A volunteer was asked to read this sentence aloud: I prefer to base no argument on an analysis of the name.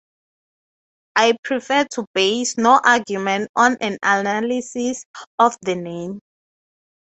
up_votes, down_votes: 3, 0